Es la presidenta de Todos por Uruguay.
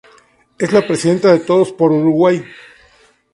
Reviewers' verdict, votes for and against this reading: accepted, 2, 0